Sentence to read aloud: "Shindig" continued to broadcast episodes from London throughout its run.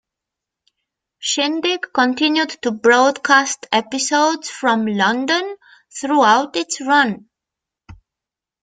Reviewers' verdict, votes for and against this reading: accepted, 2, 0